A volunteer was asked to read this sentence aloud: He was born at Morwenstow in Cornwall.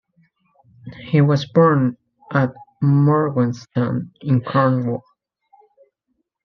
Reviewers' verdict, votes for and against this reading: rejected, 0, 2